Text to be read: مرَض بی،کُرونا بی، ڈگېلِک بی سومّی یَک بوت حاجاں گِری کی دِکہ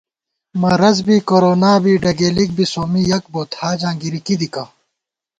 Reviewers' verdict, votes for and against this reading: accepted, 2, 0